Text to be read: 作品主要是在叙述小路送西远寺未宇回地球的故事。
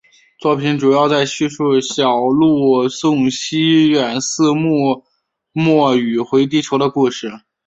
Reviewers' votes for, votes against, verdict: 4, 2, accepted